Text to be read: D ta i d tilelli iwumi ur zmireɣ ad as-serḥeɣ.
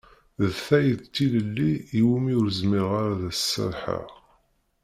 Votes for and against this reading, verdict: 0, 2, rejected